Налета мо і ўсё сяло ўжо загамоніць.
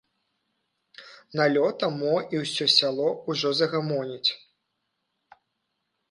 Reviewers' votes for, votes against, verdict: 0, 2, rejected